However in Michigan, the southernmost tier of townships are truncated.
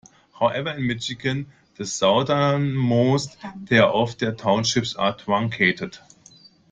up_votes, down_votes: 2, 0